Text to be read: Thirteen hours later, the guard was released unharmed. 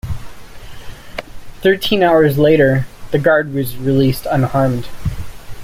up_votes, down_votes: 2, 0